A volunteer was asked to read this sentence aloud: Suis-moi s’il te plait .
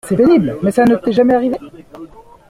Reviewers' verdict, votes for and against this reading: rejected, 0, 2